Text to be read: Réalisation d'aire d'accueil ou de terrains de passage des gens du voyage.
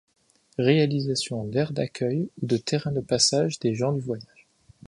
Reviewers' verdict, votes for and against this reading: accepted, 2, 1